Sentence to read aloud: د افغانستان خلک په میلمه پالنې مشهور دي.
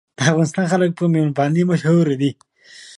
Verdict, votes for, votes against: rejected, 0, 2